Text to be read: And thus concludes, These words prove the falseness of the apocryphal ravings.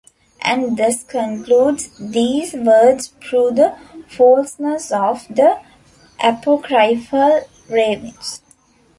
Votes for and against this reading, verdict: 1, 2, rejected